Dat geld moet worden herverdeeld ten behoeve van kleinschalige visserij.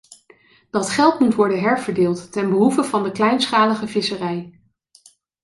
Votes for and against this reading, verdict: 1, 2, rejected